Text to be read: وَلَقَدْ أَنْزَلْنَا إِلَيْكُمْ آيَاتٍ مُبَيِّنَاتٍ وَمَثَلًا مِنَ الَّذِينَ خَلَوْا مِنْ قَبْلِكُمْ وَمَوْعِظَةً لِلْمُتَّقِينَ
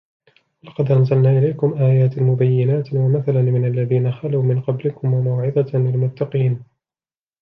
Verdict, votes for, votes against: rejected, 1, 2